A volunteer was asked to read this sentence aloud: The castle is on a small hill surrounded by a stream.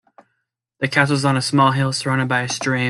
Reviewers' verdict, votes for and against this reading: rejected, 1, 2